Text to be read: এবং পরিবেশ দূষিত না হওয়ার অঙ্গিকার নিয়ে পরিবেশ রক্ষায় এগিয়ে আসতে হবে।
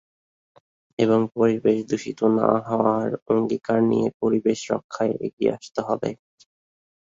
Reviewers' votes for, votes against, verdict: 2, 3, rejected